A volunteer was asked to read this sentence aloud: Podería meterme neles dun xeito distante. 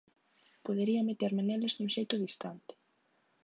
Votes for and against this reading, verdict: 2, 1, accepted